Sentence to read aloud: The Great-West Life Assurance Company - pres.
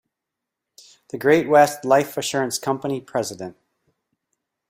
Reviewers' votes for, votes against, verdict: 1, 2, rejected